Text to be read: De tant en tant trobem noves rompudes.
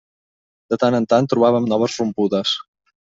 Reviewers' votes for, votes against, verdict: 0, 2, rejected